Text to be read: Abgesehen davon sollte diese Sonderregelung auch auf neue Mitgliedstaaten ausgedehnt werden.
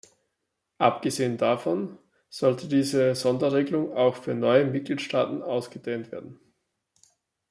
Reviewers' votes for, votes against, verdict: 1, 2, rejected